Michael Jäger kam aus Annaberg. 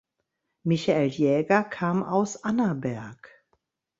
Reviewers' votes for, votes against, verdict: 2, 0, accepted